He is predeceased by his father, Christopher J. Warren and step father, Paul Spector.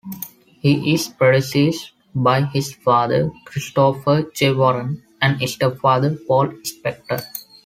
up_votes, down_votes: 2, 0